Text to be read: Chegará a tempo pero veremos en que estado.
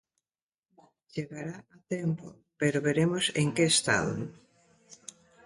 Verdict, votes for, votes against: rejected, 0, 2